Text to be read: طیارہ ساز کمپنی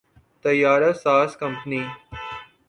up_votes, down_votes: 1, 3